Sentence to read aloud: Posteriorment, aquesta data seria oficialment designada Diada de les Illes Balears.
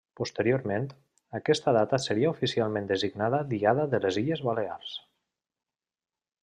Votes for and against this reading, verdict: 3, 0, accepted